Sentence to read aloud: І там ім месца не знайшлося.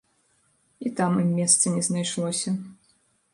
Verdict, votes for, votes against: accepted, 2, 0